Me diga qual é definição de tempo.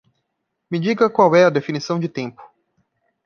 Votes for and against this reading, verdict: 1, 2, rejected